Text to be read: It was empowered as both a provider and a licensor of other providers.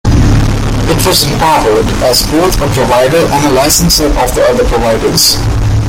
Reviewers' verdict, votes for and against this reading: rejected, 0, 2